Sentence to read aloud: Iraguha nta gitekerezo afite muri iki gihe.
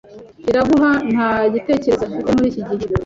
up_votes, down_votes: 3, 0